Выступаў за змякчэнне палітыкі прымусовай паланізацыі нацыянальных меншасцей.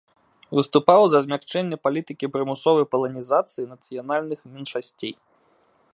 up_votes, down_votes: 1, 2